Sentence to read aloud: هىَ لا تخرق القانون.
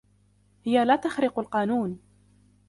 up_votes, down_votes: 2, 1